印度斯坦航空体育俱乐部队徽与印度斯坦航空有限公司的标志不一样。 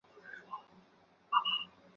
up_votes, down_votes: 3, 2